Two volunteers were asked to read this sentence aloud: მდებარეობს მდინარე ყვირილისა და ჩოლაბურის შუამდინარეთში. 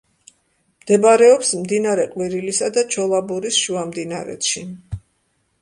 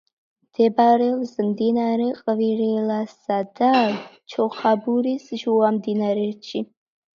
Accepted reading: first